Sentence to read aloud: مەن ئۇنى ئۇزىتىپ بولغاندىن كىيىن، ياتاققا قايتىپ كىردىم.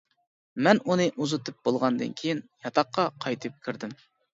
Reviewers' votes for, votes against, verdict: 2, 0, accepted